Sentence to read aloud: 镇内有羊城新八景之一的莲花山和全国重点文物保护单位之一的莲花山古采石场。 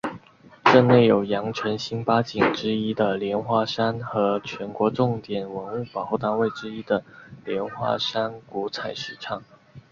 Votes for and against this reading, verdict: 3, 0, accepted